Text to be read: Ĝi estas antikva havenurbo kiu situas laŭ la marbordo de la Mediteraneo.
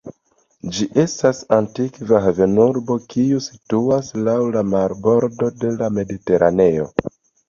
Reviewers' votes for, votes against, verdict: 2, 0, accepted